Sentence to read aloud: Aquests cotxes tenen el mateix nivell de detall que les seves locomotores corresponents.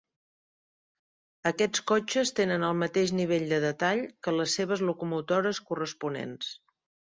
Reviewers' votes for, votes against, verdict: 5, 0, accepted